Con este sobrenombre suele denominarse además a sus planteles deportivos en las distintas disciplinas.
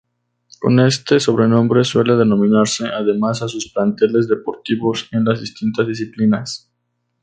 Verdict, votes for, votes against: accepted, 2, 0